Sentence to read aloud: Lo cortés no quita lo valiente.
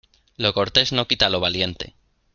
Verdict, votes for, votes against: accepted, 2, 0